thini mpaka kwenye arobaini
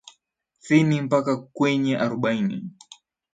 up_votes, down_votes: 1, 2